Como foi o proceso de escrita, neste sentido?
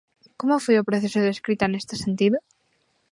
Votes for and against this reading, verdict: 2, 0, accepted